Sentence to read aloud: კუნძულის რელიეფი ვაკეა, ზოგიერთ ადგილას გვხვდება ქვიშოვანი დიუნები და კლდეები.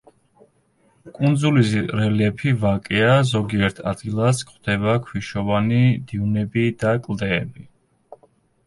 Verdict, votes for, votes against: accepted, 2, 0